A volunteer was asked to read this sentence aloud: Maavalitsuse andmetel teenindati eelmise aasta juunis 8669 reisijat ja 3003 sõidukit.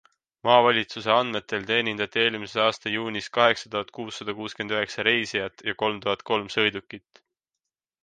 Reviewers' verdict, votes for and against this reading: rejected, 0, 2